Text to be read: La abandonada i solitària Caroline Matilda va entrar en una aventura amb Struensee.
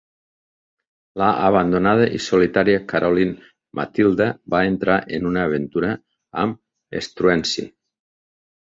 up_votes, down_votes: 3, 0